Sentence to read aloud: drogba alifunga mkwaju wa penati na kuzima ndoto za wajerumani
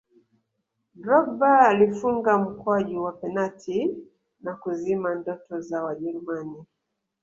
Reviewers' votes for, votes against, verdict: 1, 2, rejected